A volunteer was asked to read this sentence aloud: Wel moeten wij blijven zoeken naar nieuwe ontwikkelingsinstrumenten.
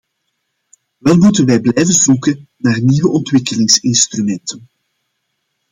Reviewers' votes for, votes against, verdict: 2, 0, accepted